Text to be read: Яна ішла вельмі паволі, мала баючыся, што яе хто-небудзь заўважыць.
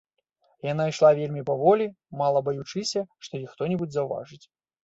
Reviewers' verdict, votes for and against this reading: accepted, 2, 0